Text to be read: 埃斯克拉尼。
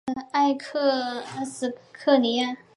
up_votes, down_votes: 1, 2